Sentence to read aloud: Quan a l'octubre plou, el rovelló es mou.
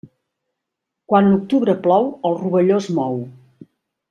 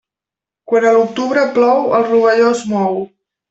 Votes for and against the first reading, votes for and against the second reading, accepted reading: 1, 2, 2, 0, second